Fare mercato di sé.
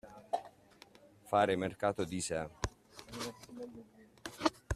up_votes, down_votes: 2, 0